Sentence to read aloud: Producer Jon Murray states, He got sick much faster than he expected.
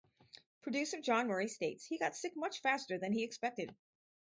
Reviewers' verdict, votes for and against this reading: accepted, 4, 0